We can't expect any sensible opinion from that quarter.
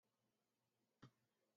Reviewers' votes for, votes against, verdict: 0, 2, rejected